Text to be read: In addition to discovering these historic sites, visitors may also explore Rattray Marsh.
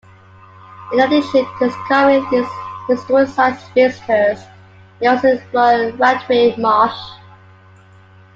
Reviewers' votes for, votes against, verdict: 2, 1, accepted